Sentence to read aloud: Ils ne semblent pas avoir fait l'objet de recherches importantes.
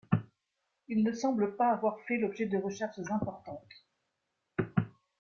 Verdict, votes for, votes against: accepted, 2, 1